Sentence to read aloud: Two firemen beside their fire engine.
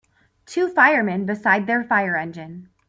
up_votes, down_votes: 3, 0